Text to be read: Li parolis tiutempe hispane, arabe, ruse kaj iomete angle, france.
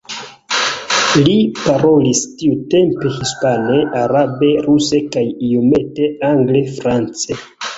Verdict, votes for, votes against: accepted, 2, 0